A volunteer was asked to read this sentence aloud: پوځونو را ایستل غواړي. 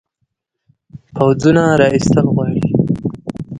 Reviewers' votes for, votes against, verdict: 2, 1, accepted